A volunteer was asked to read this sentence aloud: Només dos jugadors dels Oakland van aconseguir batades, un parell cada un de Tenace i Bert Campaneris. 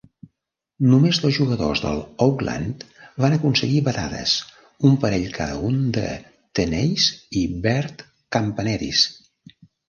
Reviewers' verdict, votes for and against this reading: rejected, 0, 2